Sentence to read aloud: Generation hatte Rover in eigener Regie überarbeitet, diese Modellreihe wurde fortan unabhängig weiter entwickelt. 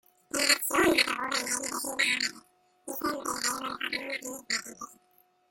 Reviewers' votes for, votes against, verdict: 0, 2, rejected